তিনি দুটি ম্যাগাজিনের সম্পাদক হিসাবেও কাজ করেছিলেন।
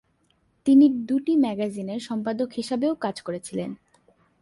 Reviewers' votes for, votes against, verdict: 2, 0, accepted